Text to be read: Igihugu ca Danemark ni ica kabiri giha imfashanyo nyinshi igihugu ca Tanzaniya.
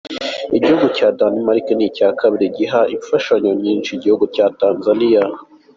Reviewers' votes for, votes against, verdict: 2, 0, accepted